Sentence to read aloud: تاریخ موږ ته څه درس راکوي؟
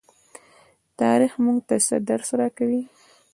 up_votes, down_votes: 2, 0